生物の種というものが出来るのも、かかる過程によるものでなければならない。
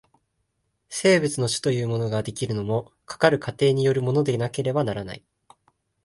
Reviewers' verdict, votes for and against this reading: rejected, 1, 2